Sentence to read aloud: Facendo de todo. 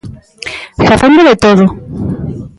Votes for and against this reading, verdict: 0, 2, rejected